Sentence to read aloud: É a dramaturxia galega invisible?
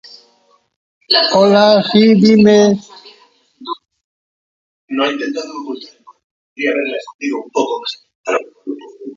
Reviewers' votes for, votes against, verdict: 0, 2, rejected